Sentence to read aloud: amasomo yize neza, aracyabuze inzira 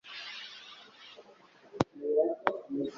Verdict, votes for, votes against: rejected, 1, 2